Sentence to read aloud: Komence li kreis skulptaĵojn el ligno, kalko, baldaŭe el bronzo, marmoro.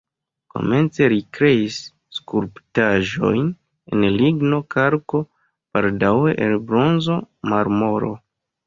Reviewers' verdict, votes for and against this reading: rejected, 1, 2